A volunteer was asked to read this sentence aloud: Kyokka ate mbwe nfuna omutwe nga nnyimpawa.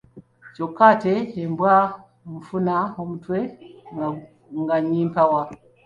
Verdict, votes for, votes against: rejected, 1, 2